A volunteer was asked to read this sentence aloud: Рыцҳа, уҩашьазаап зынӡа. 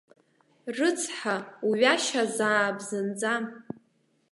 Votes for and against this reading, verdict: 2, 0, accepted